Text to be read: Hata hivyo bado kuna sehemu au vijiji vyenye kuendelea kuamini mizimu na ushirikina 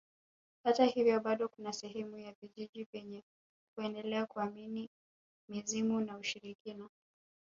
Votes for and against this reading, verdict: 5, 1, accepted